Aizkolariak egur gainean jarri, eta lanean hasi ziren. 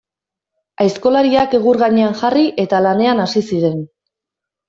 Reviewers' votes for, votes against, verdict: 2, 0, accepted